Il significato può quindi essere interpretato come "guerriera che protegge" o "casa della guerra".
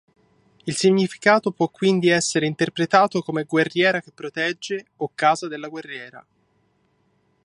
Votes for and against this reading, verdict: 0, 2, rejected